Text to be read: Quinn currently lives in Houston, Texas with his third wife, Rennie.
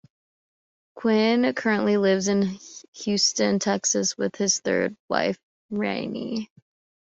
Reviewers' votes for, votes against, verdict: 2, 0, accepted